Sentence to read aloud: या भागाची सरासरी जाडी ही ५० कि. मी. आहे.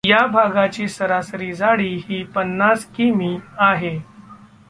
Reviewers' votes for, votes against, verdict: 0, 2, rejected